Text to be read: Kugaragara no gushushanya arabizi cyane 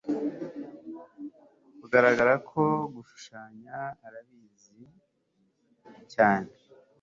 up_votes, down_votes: 1, 3